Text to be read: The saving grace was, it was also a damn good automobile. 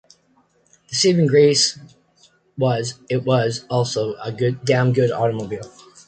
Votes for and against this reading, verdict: 1, 2, rejected